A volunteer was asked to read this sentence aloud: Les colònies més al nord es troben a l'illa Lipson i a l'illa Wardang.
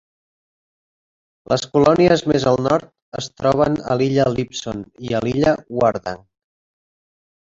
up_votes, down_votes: 2, 3